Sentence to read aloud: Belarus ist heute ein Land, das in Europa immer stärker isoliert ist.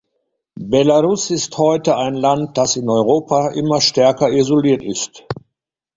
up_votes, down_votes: 2, 1